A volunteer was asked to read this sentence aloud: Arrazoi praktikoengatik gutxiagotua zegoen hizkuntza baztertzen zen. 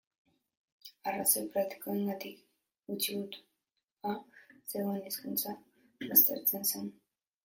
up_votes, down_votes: 0, 2